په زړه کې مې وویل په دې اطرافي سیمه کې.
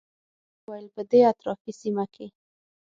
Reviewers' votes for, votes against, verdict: 3, 6, rejected